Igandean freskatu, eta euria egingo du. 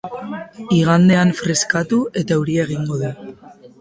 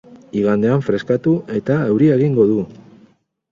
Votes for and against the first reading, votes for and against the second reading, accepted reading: 2, 2, 4, 0, second